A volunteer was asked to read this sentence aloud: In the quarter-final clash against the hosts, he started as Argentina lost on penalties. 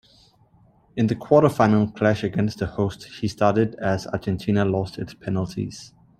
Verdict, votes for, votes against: rejected, 1, 2